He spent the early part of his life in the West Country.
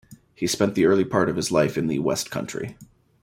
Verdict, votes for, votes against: accepted, 2, 0